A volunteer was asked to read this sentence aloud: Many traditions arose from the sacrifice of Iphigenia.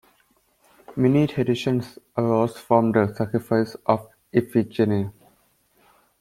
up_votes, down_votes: 2, 0